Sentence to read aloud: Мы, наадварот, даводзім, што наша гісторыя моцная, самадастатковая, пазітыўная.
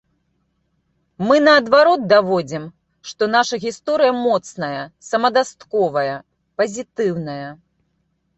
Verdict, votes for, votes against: rejected, 1, 2